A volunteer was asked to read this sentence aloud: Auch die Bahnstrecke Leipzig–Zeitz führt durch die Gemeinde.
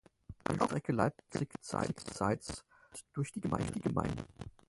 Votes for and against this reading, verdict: 0, 4, rejected